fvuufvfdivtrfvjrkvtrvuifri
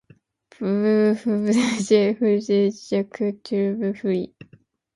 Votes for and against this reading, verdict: 0, 2, rejected